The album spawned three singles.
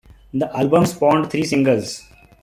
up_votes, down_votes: 2, 0